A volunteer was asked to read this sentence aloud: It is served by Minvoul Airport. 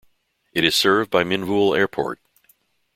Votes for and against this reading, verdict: 2, 0, accepted